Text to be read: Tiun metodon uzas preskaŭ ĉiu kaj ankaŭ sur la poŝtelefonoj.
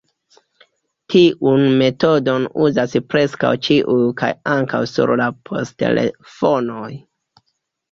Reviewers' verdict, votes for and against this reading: rejected, 0, 2